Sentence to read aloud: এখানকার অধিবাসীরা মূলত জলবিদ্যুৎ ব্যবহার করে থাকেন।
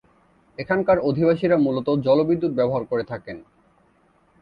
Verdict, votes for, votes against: accepted, 3, 0